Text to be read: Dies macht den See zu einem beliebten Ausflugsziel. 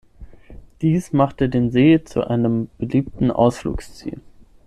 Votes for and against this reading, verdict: 0, 6, rejected